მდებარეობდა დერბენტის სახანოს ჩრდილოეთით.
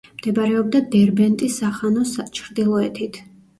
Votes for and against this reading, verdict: 1, 2, rejected